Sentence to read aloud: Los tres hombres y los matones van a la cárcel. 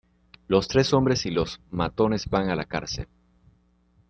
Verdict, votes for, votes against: accepted, 2, 0